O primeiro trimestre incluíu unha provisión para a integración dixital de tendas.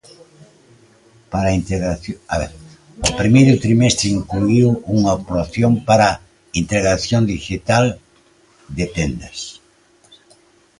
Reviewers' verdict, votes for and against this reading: rejected, 0, 2